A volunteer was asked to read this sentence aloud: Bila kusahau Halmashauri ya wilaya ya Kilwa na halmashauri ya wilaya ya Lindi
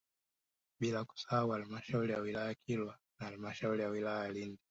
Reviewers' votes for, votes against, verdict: 1, 2, rejected